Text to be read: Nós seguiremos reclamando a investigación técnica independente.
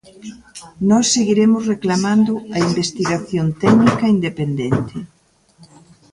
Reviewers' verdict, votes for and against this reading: accepted, 3, 0